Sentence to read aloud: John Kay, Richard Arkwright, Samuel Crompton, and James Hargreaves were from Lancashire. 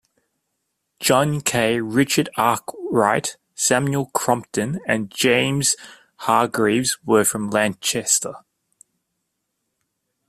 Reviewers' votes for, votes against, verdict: 1, 2, rejected